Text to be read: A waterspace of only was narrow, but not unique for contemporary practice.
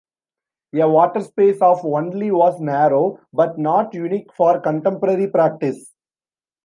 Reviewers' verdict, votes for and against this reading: rejected, 1, 2